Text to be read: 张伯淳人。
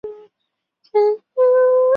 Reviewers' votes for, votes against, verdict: 0, 3, rejected